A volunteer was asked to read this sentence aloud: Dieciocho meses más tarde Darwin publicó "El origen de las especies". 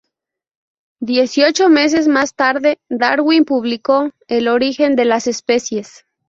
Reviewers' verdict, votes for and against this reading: accepted, 2, 0